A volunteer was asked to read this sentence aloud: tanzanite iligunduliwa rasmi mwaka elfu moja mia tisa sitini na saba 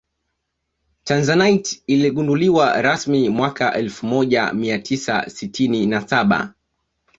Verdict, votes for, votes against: accepted, 2, 0